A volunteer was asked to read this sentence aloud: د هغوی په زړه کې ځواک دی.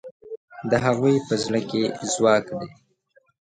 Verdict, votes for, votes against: accepted, 2, 0